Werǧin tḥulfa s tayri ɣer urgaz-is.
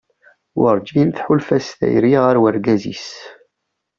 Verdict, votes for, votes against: accepted, 2, 0